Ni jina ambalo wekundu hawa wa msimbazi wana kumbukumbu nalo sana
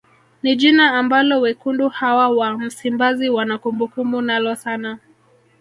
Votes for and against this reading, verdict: 1, 2, rejected